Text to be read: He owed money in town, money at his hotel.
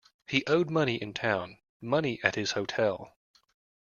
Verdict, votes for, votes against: accepted, 2, 0